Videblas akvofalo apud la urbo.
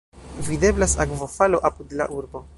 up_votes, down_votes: 0, 2